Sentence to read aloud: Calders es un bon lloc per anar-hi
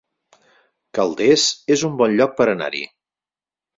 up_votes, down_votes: 6, 0